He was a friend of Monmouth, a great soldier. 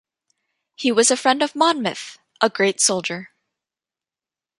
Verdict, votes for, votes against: accepted, 2, 0